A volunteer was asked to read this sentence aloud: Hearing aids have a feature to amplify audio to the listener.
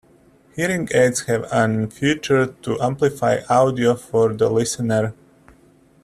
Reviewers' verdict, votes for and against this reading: rejected, 0, 2